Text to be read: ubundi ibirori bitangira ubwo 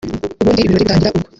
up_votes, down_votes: 0, 2